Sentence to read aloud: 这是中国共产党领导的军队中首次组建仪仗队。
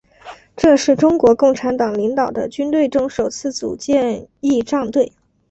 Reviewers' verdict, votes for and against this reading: accepted, 3, 0